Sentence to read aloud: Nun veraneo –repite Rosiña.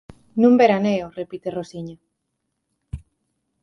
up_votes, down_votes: 4, 0